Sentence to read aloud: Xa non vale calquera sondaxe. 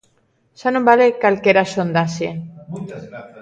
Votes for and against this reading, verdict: 1, 2, rejected